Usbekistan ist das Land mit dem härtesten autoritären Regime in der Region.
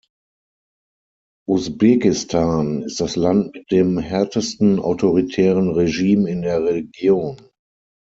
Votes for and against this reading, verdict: 6, 3, accepted